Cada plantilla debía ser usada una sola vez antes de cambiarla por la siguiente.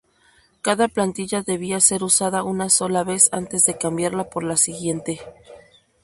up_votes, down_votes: 2, 2